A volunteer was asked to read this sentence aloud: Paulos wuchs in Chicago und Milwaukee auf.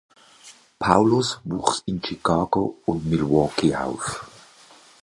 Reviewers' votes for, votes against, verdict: 2, 0, accepted